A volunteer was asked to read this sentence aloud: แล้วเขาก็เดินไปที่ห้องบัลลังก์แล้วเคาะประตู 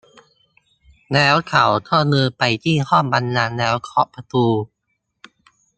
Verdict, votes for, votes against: rejected, 0, 2